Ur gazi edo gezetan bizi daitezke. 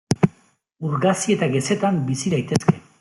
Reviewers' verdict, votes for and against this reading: rejected, 1, 2